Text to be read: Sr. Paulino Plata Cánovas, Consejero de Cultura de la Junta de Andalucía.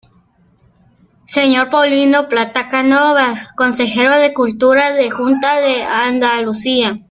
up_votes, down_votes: 0, 2